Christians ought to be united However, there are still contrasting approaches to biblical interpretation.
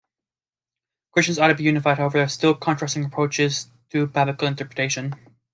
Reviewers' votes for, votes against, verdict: 1, 2, rejected